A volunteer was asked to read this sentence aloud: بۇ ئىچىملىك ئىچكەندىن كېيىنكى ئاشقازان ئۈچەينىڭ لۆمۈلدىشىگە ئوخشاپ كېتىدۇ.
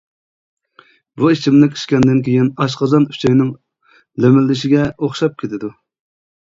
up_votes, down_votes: 0, 2